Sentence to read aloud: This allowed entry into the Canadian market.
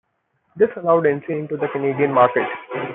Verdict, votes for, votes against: rejected, 1, 2